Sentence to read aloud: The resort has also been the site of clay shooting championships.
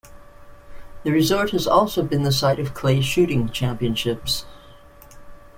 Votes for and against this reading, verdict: 2, 0, accepted